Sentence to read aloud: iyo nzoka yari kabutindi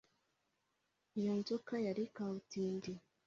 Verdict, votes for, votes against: accepted, 2, 0